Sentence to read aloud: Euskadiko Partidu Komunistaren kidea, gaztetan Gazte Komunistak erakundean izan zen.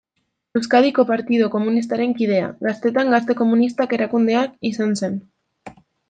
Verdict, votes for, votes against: rejected, 0, 2